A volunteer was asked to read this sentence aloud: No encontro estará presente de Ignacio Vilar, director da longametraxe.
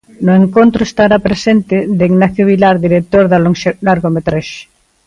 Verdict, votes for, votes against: rejected, 1, 2